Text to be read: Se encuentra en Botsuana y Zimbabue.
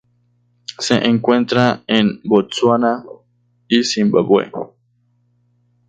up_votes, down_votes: 0, 2